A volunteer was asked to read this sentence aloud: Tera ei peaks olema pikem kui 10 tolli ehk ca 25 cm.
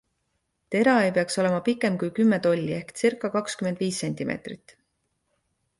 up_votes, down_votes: 0, 2